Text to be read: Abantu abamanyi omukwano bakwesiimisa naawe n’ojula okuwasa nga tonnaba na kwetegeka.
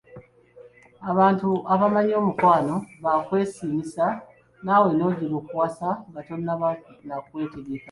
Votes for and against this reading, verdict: 0, 2, rejected